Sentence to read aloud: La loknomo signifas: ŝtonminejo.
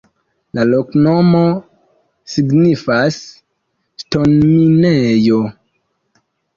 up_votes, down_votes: 2, 1